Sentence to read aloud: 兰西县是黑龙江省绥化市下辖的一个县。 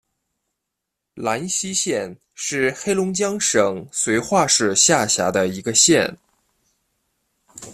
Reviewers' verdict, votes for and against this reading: accepted, 2, 0